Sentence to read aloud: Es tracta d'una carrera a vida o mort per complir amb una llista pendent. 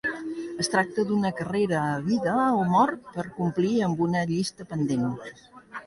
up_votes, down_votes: 3, 0